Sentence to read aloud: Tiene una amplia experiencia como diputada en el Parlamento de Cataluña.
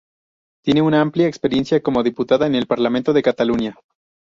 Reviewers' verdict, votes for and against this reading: accepted, 4, 0